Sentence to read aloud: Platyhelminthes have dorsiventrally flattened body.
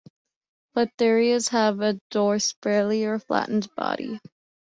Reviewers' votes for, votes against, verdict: 1, 2, rejected